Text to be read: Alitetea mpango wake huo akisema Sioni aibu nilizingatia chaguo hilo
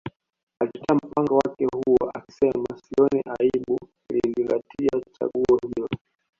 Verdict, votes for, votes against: rejected, 1, 2